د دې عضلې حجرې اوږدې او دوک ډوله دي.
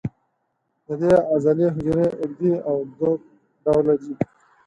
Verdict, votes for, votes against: rejected, 0, 4